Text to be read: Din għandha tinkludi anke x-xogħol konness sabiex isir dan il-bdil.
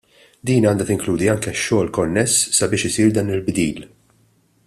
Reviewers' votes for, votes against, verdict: 2, 0, accepted